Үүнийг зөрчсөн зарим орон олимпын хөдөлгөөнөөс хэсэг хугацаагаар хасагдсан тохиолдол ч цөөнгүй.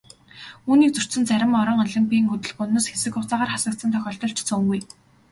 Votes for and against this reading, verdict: 1, 2, rejected